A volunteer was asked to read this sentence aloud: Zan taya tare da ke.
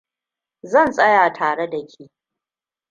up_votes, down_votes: 1, 2